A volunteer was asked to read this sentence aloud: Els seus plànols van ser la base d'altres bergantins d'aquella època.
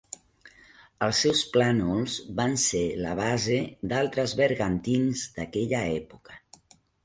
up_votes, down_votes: 1, 2